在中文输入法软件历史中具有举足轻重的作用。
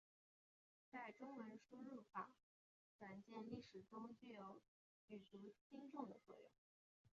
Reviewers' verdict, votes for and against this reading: rejected, 0, 2